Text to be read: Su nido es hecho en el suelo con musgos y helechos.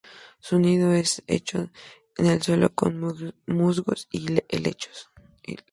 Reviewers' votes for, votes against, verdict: 2, 0, accepted